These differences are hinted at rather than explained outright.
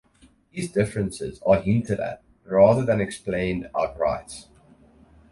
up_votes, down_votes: 0, 2